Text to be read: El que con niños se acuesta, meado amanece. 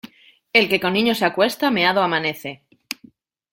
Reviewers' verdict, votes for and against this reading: accepted, 2, 0